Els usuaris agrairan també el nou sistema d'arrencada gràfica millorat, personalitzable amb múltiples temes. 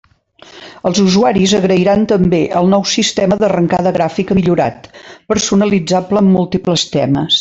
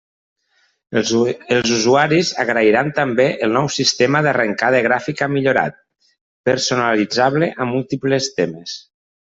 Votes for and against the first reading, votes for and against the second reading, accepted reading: 2, 0, 0, 2, first